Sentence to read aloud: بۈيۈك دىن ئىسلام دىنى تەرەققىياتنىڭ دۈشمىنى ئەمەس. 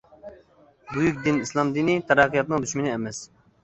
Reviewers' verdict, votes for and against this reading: accepted, 2, 0